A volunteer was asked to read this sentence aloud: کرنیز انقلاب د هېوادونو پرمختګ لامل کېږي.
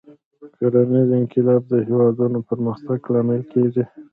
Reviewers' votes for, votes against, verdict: 1, 3, rejected